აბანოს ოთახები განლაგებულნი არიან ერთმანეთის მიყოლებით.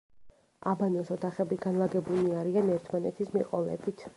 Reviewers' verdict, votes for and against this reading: accepted, 3, 0